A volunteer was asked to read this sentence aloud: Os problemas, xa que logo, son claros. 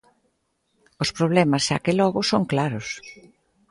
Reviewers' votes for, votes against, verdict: 2, 0, accepted